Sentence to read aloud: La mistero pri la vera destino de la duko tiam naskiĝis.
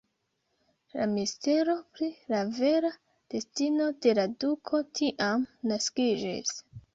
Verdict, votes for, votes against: rejected, 1, 2